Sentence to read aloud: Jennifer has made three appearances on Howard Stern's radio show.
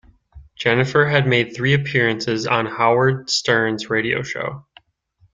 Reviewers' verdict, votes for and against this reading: rejected, 1, 2